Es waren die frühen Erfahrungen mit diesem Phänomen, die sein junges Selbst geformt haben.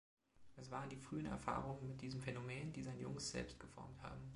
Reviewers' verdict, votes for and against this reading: accepted, 2, 0